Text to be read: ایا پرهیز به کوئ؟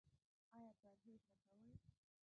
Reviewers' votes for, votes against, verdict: 0, 2, rejected